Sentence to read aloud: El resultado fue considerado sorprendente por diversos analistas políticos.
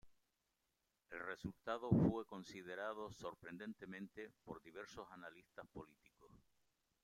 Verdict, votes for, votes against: rejected, 0, 2